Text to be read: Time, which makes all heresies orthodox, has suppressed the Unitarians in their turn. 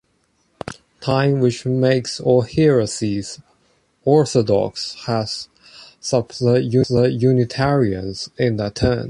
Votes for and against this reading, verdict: 0, 2, rejected